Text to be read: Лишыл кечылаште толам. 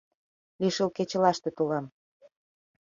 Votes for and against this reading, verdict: 2, 0, accepted